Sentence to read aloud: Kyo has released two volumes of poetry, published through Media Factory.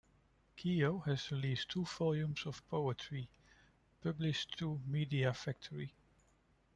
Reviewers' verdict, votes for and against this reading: accepted, 2, 1